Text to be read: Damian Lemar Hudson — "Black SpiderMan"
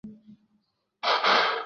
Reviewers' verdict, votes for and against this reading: rejected, 0, 2